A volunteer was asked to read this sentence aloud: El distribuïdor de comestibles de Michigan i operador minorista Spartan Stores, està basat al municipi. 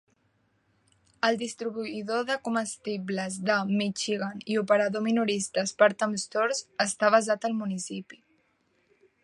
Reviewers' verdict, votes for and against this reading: rejected, 2, 3